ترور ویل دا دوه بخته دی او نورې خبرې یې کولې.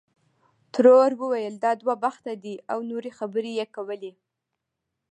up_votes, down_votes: 1, 2